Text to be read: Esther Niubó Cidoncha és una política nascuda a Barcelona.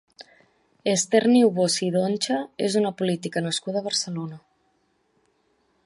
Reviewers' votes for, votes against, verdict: 3, 0, accepted